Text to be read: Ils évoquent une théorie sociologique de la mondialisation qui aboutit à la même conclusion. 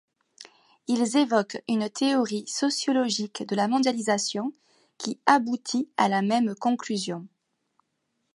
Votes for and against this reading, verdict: 2, 1, accepted